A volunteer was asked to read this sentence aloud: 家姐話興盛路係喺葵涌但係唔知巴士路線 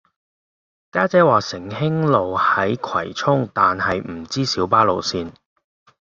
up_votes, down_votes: 0, 2